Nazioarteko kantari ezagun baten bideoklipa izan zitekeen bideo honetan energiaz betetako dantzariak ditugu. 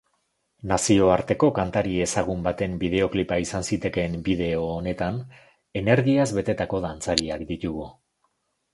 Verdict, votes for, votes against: accepted, 2, 0